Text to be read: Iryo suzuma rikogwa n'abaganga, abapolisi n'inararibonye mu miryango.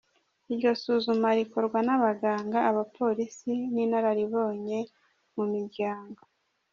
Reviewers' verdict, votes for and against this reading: rejected, 1, 2